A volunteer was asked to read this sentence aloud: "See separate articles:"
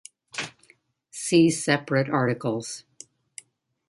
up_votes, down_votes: 2, 0